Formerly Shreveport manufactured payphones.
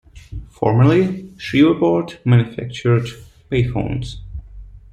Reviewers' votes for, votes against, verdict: 0, 2, rejected